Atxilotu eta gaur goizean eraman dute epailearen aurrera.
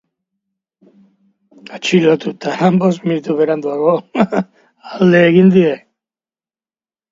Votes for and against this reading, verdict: 1, 2, rejected